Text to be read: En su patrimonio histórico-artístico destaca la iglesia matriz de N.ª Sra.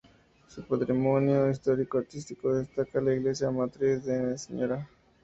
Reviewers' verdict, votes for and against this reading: rejected, 0, 2